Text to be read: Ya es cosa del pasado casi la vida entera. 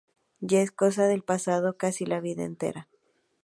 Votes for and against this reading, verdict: 2, 0, accepted